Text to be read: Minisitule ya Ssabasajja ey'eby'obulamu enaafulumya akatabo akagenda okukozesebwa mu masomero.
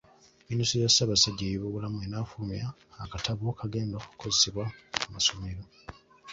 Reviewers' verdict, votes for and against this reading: rejected, 1, 2